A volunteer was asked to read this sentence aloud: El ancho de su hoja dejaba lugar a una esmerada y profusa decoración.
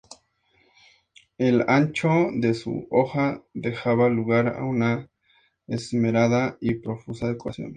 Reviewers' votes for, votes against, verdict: 2, 0, accepted